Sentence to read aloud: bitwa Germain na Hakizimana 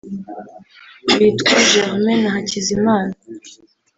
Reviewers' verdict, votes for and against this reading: accepted, 2, 0